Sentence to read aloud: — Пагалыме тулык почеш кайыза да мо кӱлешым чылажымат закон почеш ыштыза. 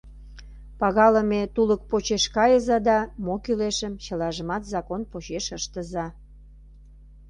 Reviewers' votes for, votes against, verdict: 2, 0, accepted